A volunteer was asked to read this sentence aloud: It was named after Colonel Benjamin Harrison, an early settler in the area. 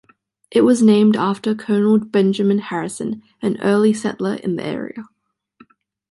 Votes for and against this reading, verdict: 2, 0, accepted